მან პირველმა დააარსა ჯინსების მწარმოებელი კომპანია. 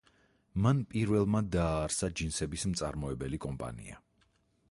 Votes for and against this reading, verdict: 2, 4, rejected